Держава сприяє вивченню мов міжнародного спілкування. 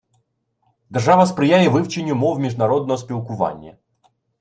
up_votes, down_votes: 1, 2